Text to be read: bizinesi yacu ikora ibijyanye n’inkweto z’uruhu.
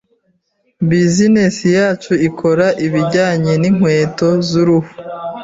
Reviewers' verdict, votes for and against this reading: accepted, 2, 0